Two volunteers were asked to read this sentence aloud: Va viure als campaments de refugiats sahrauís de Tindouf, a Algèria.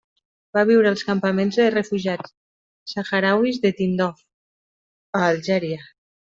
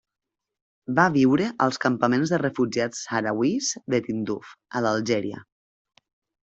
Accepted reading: first